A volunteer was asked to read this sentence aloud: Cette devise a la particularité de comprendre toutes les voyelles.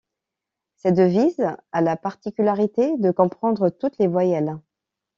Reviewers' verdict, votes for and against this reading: accepted, 2, 0